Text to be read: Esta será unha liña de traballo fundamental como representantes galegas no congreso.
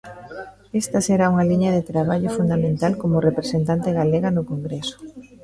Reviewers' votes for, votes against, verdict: 0, 2, rejected